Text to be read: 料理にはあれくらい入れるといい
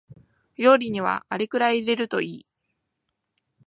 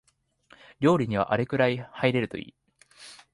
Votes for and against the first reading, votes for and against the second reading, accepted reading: 3, 0, 0, 2, first